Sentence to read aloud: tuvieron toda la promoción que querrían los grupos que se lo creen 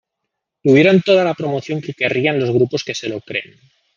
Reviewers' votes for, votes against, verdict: 0, 2, rejected